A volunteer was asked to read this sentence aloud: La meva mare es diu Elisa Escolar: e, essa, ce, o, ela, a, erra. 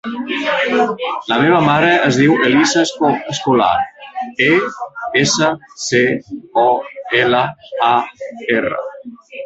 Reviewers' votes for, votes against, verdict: 0, 2, rejected